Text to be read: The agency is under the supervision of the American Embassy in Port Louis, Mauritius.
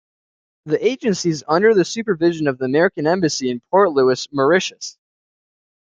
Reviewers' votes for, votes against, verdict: 2, 1, accepted